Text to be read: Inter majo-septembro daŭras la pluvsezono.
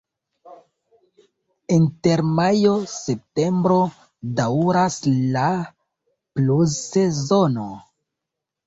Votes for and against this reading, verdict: 0, 2, rejected